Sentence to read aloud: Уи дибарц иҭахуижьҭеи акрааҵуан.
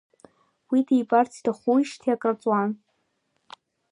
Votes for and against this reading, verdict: 0, 2, rejected